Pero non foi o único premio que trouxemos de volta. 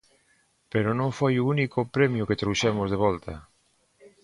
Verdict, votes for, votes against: accepted, 2, 0